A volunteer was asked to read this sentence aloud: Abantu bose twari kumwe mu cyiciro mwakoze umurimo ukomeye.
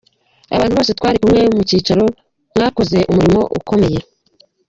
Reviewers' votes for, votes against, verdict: 1, 3, rejected